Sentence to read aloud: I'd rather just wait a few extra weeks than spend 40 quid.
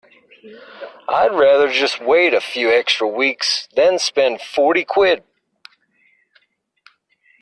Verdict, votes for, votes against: rejected, 0, 2